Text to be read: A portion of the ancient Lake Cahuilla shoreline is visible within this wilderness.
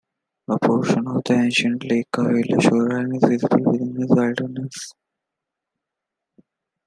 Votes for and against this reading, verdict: 1, 2, rejected